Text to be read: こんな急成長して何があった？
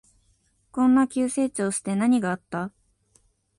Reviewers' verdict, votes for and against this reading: accepted, 2, 0